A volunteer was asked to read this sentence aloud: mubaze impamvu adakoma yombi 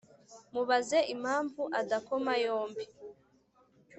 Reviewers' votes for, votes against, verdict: 3, 0, accepted